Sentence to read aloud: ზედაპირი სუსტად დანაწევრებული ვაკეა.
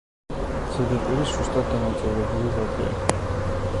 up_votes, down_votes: 2, 0